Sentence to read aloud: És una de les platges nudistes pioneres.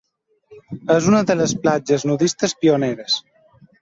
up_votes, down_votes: 2, 0